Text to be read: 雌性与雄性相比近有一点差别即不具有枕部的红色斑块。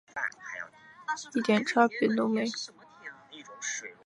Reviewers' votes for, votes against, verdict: 2, 3, rejected